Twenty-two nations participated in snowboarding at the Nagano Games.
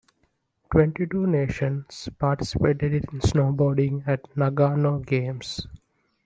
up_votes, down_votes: 1, 3